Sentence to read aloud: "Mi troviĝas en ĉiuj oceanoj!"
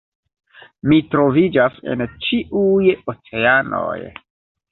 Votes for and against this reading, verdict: 2, 1, accepted